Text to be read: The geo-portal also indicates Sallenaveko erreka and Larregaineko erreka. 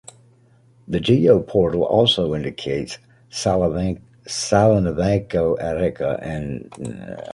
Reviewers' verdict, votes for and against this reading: rejected, 0, 2